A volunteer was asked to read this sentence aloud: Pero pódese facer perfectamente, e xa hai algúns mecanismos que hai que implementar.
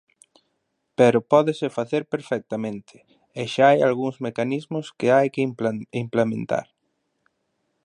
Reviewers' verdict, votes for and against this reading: rejected, 0, 2